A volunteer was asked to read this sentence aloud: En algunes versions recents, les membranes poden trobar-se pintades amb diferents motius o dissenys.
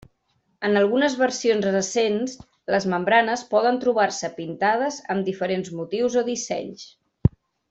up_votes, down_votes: 3, 0